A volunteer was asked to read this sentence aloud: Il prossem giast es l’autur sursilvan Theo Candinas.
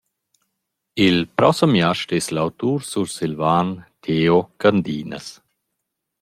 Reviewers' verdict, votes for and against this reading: accepted, 2, 1